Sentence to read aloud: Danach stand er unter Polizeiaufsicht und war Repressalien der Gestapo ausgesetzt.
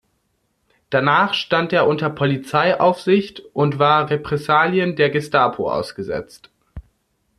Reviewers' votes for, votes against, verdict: 2, 0, accepted